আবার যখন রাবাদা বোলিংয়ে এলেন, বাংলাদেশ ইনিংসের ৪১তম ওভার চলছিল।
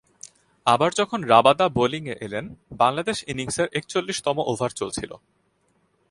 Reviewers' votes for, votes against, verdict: 0, 2, rejected